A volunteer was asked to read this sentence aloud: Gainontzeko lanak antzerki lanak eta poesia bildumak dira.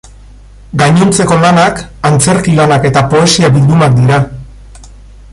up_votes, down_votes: 1, 4